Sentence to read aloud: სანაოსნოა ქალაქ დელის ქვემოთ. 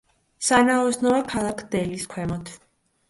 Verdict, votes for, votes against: accepted, 2, 0